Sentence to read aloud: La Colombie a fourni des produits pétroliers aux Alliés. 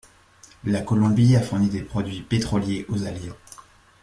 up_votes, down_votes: 2, 0